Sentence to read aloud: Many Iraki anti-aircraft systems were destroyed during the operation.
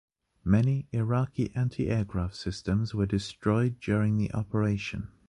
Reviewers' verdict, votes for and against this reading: accepted, 2, 0